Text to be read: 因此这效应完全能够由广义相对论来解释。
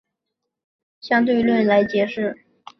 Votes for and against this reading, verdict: 3, 1, accepted